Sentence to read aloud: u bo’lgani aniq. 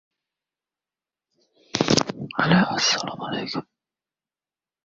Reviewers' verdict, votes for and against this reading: rejected, 0, 2